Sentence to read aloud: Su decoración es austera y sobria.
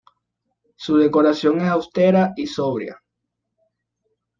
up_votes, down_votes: 2, 0